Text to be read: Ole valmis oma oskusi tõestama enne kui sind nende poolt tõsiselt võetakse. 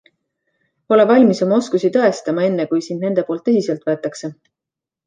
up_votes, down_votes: 2, 0